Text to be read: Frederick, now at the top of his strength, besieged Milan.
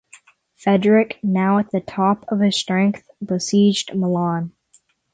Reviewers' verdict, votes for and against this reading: rejected, 3, 6